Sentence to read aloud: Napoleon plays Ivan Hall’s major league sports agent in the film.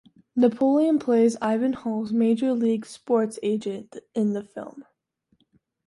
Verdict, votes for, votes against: accepted, 2, 0